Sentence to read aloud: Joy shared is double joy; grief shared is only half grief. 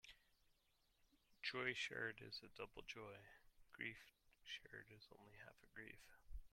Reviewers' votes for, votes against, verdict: 1, 2, rejected